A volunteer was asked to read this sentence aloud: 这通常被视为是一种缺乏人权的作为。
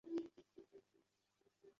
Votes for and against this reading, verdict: 0, 2, rejected